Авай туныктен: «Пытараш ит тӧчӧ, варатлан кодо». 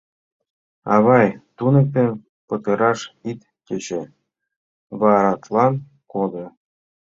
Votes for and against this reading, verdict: 1, 2, rejected